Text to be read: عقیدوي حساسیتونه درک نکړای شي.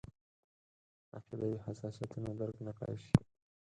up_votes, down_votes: 4, 2